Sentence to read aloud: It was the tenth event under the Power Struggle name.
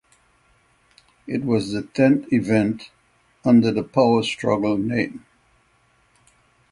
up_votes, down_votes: 3, 3